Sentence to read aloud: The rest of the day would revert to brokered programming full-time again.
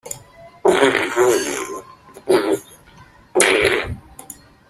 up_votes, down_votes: 0, 2